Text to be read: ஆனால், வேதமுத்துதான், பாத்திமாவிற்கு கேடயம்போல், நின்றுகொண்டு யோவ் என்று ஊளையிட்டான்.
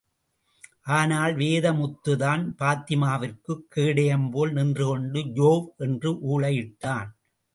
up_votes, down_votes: 2, 0